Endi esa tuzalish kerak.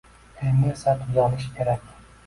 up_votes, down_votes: 2, 1